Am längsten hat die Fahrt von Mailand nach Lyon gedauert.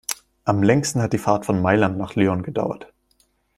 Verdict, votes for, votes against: accepted, 2, 0